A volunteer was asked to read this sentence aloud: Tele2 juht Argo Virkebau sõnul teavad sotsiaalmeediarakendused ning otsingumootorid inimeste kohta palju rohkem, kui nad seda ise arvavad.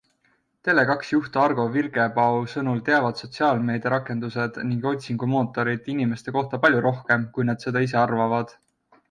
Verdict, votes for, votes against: rejected, 0, 2